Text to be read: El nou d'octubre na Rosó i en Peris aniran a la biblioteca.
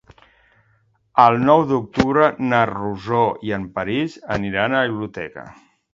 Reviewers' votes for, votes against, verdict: 0, 2, rejected